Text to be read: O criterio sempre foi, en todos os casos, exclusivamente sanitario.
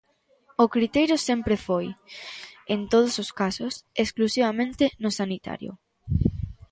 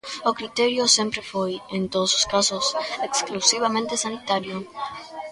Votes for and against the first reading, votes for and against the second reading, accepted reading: 1, 2, 2, 0, second